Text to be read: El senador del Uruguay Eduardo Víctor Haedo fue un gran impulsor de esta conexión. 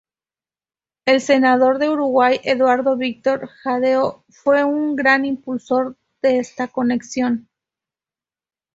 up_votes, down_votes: 2, 2